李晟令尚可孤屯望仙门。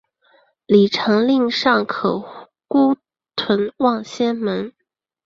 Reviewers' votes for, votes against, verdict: 2, 1, accepted